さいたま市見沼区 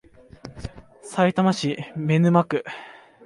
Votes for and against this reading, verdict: 2, 0, accepted